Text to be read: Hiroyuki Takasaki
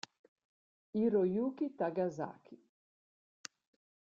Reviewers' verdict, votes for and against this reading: accepted, 2, 0